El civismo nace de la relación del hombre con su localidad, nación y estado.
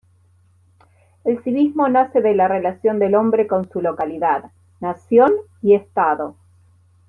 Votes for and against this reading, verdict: 2, 0, accepted